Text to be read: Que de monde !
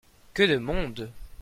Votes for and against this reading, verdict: 2, 0, accepted